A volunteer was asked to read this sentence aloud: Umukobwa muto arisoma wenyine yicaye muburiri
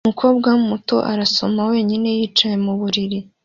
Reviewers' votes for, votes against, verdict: 2, 0, accepted